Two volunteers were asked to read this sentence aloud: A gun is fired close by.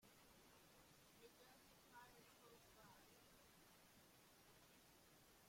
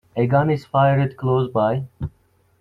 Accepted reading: second